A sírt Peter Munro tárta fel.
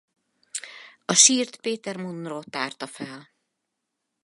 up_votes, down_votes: 4, 0